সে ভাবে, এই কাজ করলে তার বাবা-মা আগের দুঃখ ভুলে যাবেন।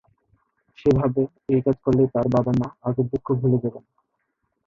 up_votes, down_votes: 3, 6